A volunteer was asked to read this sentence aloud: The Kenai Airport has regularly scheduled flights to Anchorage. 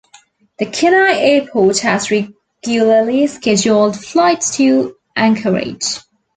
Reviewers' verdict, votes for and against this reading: rejected, 0, 2